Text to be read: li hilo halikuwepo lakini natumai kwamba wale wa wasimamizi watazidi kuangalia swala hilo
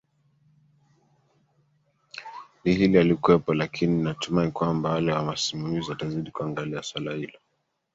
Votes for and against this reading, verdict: 1, 2, rejected